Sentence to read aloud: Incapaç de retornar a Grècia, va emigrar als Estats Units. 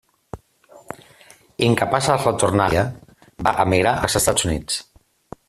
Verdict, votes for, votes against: rejected, 0, 2